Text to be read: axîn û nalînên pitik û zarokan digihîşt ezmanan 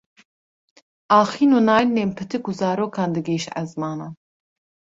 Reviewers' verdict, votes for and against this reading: accepted, 2, 0